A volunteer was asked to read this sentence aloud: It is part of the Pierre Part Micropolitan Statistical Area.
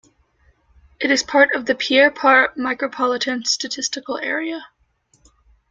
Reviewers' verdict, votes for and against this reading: accepted, 2, 0